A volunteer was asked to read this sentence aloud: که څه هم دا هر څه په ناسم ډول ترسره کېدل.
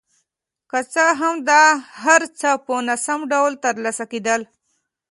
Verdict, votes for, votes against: accepted, 2, 0